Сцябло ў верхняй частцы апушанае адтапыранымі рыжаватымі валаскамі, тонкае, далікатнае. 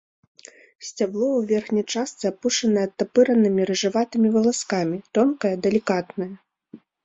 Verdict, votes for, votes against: accepted, 2, 0